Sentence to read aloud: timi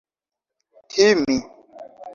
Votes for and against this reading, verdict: 0, 2, rejected